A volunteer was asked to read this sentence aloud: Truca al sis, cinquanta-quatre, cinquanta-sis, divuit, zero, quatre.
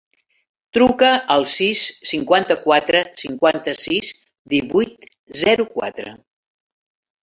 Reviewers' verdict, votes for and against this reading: accepted, 3, 0